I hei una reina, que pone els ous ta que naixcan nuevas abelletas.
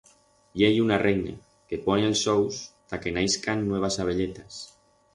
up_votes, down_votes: 4, 0